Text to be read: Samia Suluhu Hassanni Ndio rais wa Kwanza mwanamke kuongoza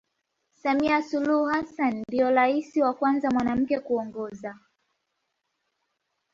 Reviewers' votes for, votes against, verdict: 2, 1, accepted